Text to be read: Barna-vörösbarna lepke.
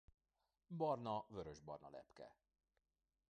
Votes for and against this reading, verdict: 2, 0, accepted